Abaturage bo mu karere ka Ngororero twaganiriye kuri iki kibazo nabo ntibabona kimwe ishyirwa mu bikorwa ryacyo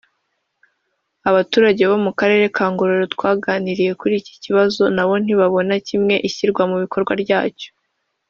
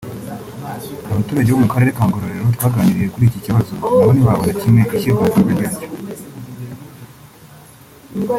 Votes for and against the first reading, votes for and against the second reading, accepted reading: 2, 0, 1, 3, first